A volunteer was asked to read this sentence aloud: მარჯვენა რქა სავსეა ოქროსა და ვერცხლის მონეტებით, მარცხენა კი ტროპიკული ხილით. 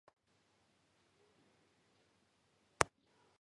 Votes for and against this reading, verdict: 0, 2, rejected